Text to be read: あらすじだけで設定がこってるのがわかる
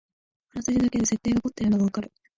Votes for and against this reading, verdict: 1, 2, rejected